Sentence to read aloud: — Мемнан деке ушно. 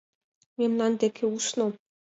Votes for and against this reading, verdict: 2, 0, accepted